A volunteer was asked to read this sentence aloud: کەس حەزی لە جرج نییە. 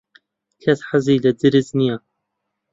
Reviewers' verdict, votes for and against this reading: accepted, 2, 0